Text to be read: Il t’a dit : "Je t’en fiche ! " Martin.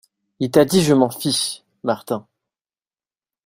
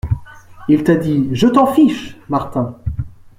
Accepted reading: second